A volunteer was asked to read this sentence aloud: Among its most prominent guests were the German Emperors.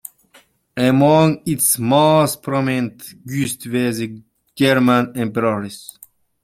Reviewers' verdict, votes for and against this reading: rejected, 1, 2